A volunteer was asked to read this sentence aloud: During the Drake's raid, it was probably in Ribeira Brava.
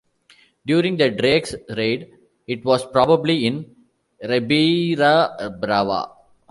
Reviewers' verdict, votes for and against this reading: accepted, 2, 0